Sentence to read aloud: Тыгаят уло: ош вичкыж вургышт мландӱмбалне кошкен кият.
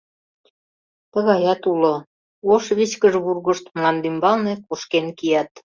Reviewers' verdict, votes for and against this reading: accepted, 2, 0